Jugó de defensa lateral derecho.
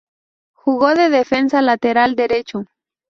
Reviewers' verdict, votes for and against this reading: accepted, 2, 0